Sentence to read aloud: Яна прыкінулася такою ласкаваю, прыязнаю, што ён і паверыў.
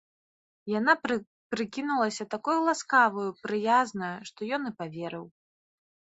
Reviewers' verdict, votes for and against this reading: rejected, 2, 3